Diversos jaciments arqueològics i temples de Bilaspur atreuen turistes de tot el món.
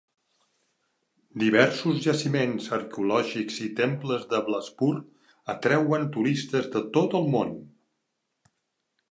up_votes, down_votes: 0, 2